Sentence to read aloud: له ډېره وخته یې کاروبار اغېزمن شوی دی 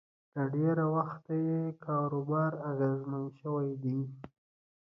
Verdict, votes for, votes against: rejected, 1, 2